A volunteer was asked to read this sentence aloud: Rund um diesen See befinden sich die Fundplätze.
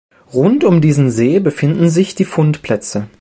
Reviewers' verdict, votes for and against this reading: accepted, 2, 0